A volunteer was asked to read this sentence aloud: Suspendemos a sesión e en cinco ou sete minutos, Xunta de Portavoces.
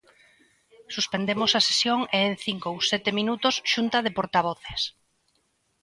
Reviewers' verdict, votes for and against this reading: accepted, 2, 0